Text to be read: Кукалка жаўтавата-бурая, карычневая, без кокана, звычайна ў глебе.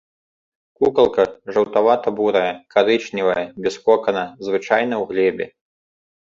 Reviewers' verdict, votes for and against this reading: accepted, 2, 0